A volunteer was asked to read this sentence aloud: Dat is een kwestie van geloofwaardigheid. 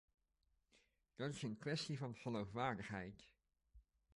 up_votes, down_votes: 0, 2